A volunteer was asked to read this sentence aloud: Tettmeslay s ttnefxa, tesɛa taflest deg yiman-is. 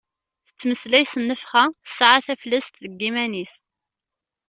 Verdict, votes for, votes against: rejected, 0, 2